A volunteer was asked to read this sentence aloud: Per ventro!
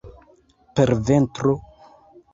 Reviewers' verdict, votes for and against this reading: rejected, 0, 2